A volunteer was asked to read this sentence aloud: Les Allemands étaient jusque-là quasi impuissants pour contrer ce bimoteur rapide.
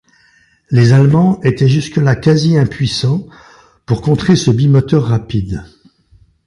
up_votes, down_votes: 2, 0